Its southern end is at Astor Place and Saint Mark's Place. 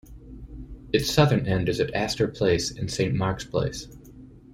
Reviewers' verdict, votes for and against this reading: accepted, 2, 0